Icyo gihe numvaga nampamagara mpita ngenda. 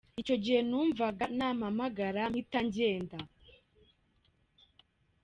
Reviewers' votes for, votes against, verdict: 1, 2, rejected